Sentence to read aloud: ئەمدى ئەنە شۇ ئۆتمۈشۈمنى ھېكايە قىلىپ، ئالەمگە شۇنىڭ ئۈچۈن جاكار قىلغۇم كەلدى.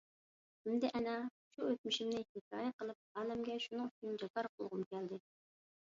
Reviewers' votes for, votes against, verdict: 0, 2, rejected